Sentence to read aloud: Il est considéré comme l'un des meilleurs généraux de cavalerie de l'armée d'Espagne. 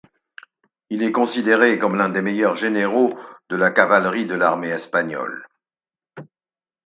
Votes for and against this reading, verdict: 2, 4, rejected